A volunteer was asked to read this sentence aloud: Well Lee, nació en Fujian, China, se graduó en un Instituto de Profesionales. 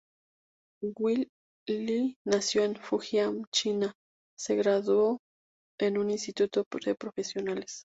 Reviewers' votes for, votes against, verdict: 2, 0, accepted